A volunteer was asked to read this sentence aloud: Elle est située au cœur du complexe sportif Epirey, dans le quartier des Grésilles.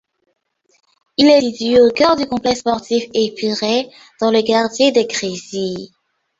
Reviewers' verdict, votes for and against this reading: rejected, 0, 2